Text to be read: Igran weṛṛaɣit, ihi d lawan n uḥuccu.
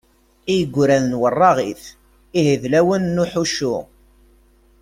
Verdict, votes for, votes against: rejected, 1, 2